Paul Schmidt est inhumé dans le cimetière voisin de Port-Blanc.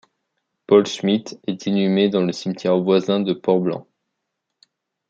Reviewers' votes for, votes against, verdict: 2, 0, accepted